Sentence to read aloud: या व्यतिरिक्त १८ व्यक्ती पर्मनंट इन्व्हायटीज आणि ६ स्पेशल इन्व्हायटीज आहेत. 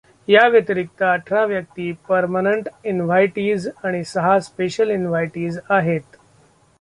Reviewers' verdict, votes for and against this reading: rejected, 0, 2